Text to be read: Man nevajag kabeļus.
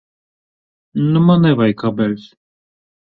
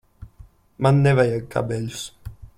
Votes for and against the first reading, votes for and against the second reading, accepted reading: 0, 2, 2, 0, second